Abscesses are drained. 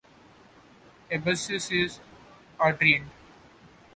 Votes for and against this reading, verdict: 0, 2, rejected